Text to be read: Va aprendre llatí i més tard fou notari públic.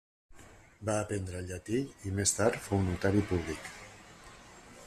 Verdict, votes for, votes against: accepted, 2, 0